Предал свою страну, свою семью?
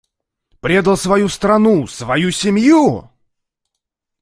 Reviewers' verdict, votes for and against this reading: accepted, 2, 0